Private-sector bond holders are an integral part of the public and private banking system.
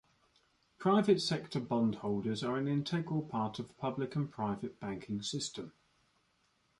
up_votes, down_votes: 0, 2